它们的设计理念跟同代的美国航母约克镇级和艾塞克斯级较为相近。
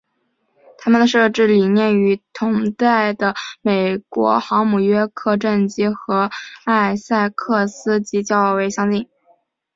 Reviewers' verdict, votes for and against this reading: accepted, 2, 0